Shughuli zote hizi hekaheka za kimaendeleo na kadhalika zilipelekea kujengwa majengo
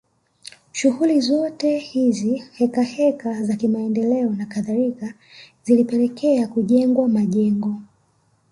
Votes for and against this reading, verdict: 2, 0, accepted